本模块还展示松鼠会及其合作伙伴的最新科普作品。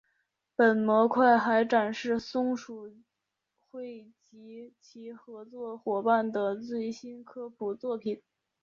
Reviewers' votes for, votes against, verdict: 0, 2, rejected